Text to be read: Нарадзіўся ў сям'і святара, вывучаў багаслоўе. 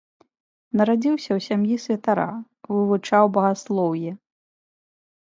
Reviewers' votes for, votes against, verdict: 3, 0, accepted